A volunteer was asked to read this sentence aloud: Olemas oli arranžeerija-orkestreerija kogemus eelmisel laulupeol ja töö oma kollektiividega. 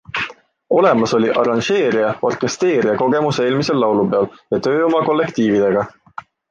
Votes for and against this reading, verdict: 2, 0, accepted